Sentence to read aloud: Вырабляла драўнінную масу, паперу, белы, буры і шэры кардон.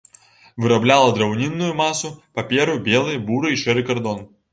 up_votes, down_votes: 3, 0